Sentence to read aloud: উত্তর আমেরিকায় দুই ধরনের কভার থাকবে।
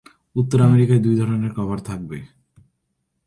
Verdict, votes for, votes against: accepted, 9, 0